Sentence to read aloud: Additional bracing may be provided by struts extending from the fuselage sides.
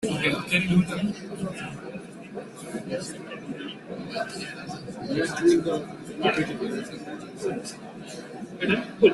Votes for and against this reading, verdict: 0, 2, rejected